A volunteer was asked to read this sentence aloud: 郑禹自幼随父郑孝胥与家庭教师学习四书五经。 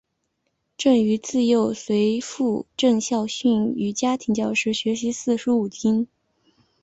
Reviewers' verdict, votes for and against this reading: accepted, 3, 1